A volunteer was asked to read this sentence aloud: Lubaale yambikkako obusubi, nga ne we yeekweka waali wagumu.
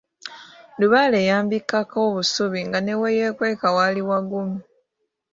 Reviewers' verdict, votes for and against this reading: accepted, 2, 0